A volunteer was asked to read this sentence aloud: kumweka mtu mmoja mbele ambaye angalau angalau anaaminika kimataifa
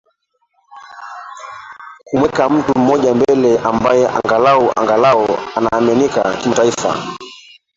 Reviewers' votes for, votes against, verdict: 0, 2, rejected